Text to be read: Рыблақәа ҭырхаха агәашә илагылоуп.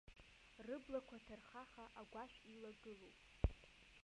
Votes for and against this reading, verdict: 0, 2, rejected